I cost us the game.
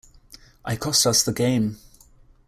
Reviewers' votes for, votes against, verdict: 2, 0, accepted